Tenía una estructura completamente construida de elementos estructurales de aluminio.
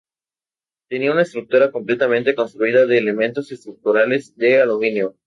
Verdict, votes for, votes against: accepted, 4, 0